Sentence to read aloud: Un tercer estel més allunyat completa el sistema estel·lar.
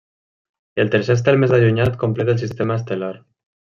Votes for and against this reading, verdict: 0, 2, rejected